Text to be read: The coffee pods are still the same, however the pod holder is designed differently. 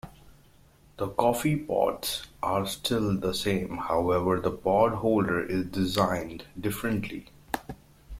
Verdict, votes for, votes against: accepted, 2, 1